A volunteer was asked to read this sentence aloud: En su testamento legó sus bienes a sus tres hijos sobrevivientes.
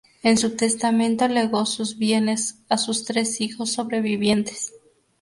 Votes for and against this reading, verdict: 2, 0, accepted